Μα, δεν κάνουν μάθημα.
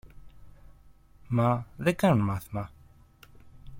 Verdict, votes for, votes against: accepted, 2, 0